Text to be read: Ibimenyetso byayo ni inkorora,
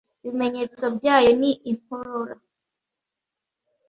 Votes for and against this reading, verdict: 2, 0, accepted